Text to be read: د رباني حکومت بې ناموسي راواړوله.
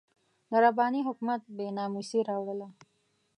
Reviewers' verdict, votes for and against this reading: accepted, 2, 0